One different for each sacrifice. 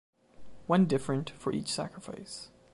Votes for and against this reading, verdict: 2, 0, accepted